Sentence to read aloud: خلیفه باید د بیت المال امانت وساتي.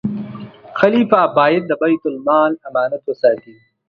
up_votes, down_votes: 2, 0